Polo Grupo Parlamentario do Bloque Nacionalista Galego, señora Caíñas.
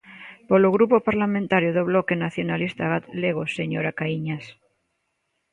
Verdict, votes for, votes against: rejected, 1, 2